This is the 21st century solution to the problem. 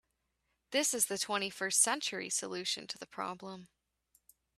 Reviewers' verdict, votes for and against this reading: rejected, 0, 2